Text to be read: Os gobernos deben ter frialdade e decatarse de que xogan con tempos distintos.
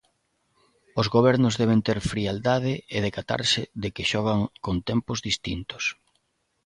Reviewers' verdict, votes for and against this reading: accepted, 2, 0